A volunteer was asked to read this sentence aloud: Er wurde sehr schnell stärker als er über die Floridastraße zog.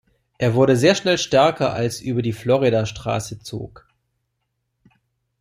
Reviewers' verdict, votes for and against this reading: rejected, 0, 2